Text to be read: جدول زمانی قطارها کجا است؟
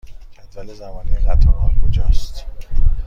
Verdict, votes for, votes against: accepted, 2, 0